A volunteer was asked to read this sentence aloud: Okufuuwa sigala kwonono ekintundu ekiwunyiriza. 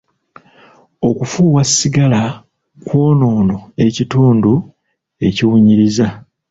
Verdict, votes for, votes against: rejected, 1, 2